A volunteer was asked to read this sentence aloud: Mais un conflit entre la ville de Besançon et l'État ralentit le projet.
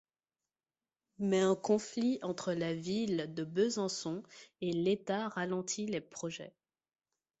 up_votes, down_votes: 2, 1